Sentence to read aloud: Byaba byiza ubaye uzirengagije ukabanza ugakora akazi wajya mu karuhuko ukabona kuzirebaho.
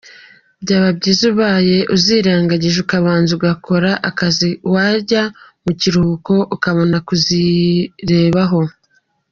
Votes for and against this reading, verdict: 2, 0, accepted